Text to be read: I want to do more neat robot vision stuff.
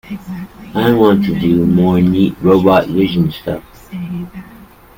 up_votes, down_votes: 2, 0